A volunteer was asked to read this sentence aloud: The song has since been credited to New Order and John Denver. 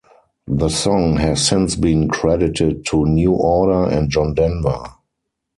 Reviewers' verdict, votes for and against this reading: rejected, 2, 4